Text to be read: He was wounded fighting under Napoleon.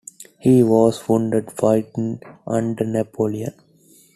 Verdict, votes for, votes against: accepted, 2, 0